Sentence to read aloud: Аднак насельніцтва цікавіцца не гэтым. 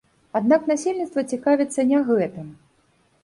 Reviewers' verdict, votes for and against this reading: accepted, 2, 0